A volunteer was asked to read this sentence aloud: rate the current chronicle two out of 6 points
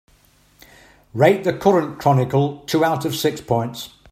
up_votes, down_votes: 0, 2